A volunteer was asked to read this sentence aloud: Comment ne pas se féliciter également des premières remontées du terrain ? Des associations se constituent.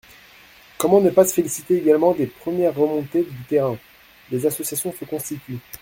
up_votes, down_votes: 2, 0